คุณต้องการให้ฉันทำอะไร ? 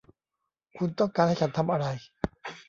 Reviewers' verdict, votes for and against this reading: rejected, 1, 2